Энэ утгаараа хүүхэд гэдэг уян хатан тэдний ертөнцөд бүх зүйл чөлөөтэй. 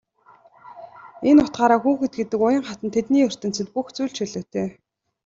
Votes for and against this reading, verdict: 2, 0, accepted